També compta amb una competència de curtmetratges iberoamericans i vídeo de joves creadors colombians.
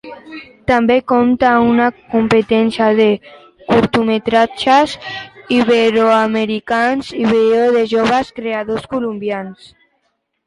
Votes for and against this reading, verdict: 1, 2, rejected